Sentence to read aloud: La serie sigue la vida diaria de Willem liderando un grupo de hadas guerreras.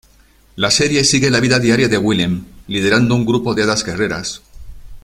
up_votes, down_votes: 2, 0